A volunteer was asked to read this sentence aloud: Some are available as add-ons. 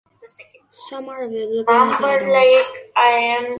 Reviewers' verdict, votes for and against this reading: rejected, 0, 2